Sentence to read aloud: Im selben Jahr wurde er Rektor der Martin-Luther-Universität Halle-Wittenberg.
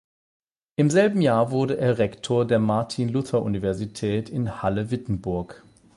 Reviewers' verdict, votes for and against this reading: rejected, 4, 8